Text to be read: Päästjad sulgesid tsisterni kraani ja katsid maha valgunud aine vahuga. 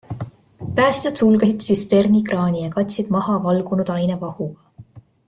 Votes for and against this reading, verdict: 0, 2, rejected